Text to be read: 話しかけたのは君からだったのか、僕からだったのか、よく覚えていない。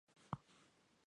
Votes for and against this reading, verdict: 0, 2, rejected